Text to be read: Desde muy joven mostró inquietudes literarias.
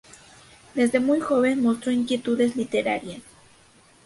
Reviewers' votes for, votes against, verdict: 2, 0, accepted